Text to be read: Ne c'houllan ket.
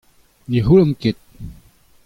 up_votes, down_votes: 2, 0